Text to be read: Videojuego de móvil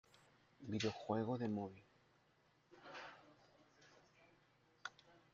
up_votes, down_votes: 0, 2